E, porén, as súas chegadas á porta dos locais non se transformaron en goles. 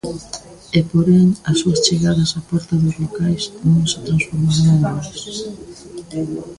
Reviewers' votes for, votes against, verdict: 2, 0, accepted